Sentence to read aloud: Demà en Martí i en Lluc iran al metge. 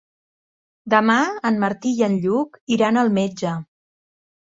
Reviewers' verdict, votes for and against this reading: rejected, 1, 2